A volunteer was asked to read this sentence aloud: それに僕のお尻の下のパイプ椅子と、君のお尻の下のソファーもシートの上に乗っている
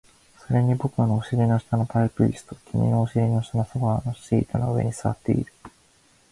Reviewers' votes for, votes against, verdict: 0, 2, rejected